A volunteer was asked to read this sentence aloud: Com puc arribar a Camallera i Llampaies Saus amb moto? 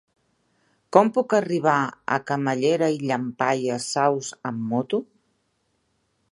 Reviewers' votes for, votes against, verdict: 2, 0, accepted